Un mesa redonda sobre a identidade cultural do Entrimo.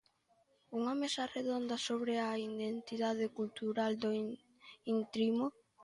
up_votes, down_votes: 0, 2